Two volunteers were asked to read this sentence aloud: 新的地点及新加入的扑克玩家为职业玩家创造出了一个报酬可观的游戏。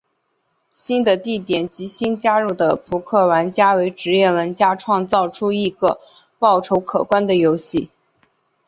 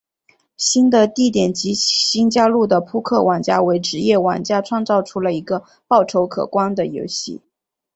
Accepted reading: first